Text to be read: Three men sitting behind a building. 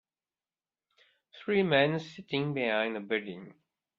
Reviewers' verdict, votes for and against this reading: accepted, 2, 0